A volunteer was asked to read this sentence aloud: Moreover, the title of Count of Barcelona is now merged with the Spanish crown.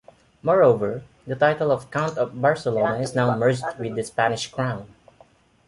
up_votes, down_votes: 2, 1